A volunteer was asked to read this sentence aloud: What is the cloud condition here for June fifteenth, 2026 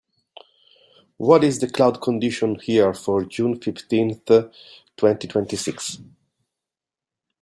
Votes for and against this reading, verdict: 0, 2, rejected